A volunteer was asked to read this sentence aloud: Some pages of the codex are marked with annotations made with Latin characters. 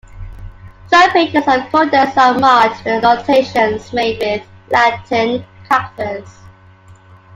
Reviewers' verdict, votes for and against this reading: rejected, 1, 2